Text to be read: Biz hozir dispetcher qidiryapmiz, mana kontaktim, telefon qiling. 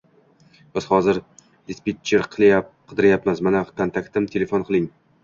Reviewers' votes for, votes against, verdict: 1, 2, rejected